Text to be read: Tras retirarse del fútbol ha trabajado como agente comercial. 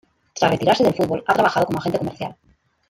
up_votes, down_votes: 1, 2